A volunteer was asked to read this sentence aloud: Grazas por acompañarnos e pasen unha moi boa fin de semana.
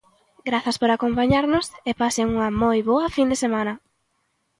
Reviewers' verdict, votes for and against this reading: accepted, 2, 0